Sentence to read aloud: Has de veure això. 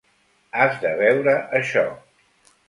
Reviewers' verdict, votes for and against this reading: accepted, 2, 0